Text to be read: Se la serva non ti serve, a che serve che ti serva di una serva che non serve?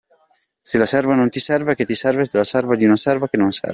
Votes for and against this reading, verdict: 2, 1, accepted